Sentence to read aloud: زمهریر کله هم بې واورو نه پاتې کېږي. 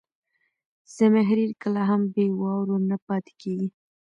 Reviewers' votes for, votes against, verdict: 2, 0, accepted